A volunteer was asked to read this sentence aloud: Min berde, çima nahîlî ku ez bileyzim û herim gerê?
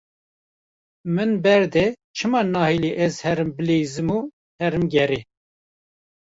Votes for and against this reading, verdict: 0, 2, rejected